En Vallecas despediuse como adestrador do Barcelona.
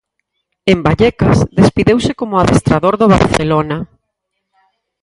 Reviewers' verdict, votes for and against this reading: rejected, 0, 4